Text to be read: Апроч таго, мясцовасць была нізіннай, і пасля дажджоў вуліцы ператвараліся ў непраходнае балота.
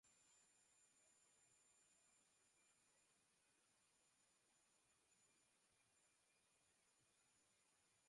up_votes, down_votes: 0, 2